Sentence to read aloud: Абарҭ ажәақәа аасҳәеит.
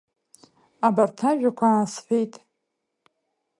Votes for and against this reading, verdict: 2, 0, accepted